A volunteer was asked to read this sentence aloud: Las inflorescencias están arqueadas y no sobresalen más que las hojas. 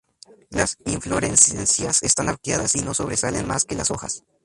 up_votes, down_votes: 0, 4